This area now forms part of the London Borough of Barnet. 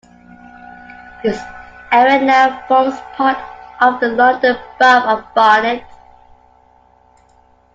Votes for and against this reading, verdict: 2, 0, accepted